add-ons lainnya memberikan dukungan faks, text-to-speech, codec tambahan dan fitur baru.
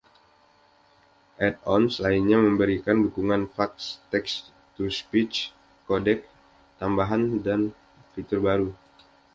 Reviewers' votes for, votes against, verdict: 2, 0, accepted